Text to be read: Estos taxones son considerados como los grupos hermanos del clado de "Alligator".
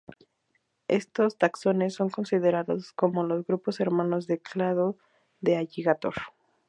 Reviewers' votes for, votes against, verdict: 4, 0, accepted